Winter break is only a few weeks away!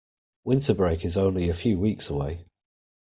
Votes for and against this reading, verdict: 2, 0, accepted